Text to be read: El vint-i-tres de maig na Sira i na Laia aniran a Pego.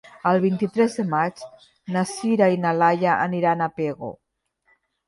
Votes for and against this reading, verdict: 3, 0, accepted